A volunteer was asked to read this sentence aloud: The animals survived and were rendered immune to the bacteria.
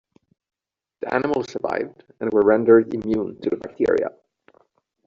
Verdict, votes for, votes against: rejected, 1, 2